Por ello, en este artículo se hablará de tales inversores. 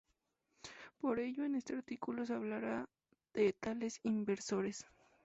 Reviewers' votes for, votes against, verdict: 2, 0, accepted